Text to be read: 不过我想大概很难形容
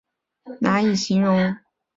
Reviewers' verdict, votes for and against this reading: rejected, 2, 5